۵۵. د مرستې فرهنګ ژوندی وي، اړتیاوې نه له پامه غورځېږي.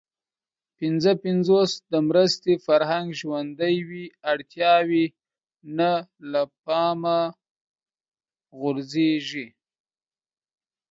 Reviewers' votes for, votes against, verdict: 0, 2, rejected